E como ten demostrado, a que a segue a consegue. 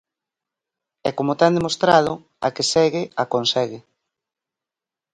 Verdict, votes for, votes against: rejected, 0, 4